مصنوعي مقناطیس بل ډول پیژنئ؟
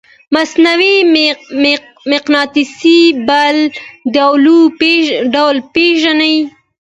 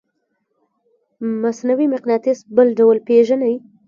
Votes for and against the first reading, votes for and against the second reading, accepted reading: 2, 0, 0, 2, first